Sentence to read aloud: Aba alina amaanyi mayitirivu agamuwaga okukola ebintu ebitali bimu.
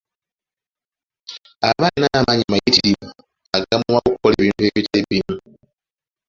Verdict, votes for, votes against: rejected, 0, 2